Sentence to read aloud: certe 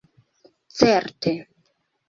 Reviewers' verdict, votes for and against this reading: accepted, 2, 1